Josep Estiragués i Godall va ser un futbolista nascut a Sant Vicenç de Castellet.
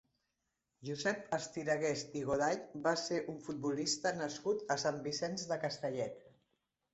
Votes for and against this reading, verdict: 1, 2, rejected